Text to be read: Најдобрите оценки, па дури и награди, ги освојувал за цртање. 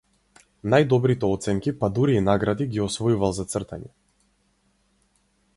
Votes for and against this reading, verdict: 2, 0, accepted